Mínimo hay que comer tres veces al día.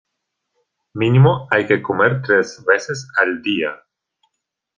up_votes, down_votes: 2, 0